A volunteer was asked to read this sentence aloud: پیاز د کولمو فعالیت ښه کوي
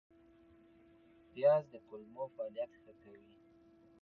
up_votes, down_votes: 1, 2